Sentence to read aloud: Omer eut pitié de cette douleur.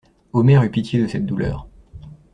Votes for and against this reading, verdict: 2, 0, accepted